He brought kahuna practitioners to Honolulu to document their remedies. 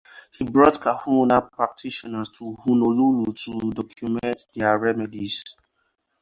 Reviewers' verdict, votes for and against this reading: accepted, 2, 0